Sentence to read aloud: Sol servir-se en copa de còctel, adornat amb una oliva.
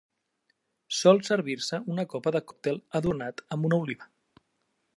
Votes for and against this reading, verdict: 1, 2, rejected